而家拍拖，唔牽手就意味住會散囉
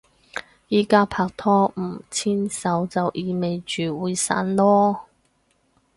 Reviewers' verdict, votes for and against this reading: rejected, 2, 4